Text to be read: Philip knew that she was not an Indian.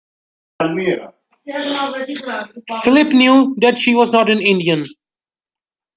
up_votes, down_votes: 0, 2